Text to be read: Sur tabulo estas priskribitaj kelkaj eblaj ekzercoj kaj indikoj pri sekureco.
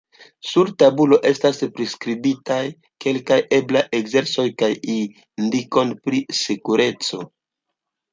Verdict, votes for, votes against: accepted, 2, 1